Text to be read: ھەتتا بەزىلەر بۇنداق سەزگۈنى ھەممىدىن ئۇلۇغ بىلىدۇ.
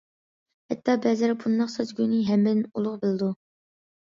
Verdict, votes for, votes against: accepted, 2, 0